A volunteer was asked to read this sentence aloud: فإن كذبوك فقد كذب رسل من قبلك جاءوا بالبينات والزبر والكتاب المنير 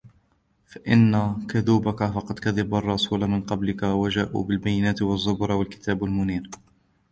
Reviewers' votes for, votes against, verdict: 1, 2, rejected